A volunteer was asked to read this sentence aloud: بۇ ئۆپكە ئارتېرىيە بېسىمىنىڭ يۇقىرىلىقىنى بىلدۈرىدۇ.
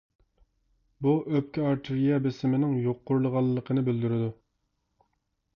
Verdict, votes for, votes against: rejected, 0, 2